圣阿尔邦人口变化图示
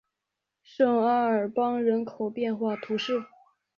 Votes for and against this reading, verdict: 2, 0, accepted